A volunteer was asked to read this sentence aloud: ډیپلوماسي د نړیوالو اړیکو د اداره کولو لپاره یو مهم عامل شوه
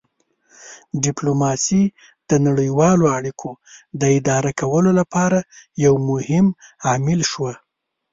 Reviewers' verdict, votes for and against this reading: rejected, 1, 2